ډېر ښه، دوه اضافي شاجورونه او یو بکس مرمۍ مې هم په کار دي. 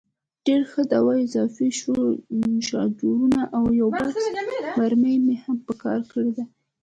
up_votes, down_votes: 2, 0